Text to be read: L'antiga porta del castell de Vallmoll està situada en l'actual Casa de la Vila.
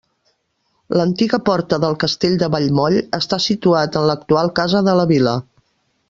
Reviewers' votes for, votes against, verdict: 1, 2, rejected